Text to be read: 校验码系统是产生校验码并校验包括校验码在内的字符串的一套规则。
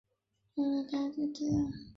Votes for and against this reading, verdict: 4, 5, rejected